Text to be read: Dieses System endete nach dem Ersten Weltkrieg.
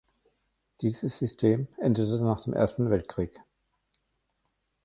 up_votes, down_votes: 1, 2